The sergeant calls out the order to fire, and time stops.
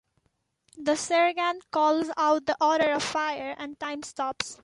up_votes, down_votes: 2, 0